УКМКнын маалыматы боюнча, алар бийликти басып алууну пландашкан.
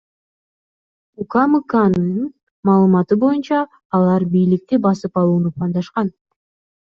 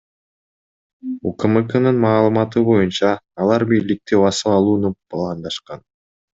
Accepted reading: second